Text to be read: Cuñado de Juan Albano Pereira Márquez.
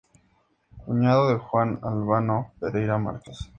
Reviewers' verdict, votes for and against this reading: accepted, 4, 0